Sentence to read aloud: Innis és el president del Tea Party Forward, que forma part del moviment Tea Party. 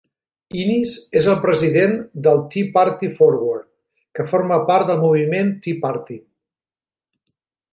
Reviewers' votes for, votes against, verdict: 3, 0, accepted